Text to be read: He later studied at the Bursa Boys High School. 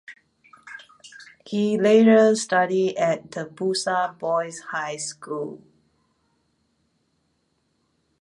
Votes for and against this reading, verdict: 0, 2, rejected